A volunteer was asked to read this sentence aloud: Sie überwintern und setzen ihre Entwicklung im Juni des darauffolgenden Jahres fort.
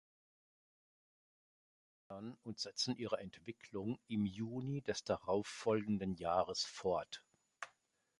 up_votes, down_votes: 0, 3